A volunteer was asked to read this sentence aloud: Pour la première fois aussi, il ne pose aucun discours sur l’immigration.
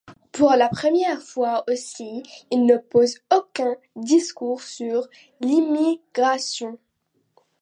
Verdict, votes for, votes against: accepted, 2, 0